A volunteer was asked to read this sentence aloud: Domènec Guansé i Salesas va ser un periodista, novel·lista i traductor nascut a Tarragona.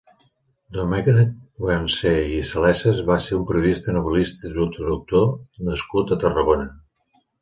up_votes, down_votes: 2, 1